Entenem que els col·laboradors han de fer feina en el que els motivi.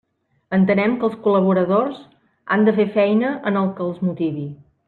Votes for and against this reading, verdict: 3, 0, accepted